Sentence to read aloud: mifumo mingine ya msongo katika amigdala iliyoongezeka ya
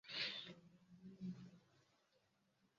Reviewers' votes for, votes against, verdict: 0, 2, rejected